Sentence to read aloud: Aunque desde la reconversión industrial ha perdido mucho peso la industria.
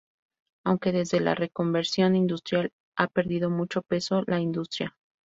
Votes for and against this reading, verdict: 0, 2, rejected